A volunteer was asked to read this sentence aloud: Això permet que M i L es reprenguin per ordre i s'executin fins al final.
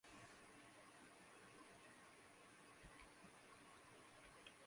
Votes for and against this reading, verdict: 0, 2, rejected